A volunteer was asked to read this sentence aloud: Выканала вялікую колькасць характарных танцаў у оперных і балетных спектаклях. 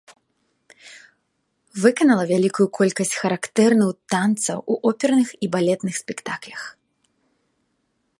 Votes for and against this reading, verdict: 0, 2, rejected